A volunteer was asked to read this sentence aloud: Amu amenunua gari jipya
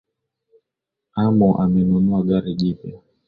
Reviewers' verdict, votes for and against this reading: accepted, 10, 0